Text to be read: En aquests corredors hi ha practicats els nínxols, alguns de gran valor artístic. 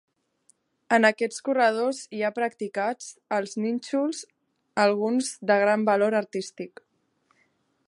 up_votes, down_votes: 3, 0